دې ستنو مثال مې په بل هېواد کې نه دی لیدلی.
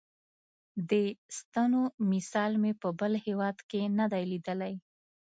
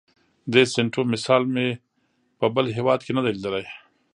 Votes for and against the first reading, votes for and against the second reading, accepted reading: 2, 0, 0, 2, first